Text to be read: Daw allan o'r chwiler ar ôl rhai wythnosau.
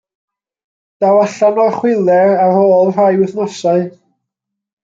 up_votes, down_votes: 1, 2